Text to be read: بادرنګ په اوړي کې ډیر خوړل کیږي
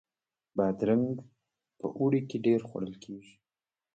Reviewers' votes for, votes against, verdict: 0, 2, rejected